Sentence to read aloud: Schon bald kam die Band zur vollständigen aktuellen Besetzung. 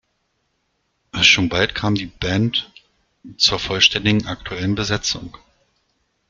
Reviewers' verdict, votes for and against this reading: rejected, 0, 2